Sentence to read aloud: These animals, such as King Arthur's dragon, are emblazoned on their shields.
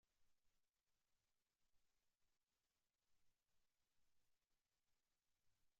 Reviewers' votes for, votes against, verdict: 0, 2, rejected